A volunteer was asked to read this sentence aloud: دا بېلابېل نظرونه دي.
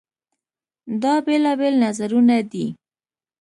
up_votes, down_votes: 2, 0